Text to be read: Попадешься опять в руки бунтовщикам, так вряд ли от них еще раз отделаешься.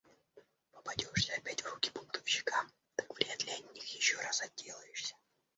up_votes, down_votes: 1, 2